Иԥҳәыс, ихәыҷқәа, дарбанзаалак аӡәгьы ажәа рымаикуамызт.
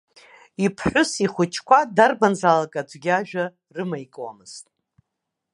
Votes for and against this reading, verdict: 2, 0, accepted